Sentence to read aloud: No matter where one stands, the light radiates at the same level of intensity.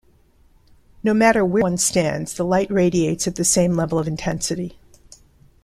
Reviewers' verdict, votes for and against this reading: rejected, 1, 2